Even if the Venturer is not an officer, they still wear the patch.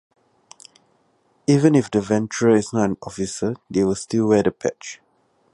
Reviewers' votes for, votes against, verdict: 0, 2, rejected